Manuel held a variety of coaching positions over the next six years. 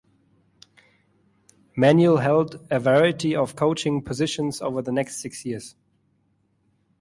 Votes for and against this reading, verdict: 2, 0, accepted